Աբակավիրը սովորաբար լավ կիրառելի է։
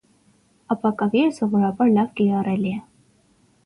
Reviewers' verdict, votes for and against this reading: accepted, 6, 0